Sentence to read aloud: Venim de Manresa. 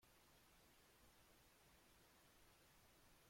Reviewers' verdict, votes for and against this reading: rejected, 0, 2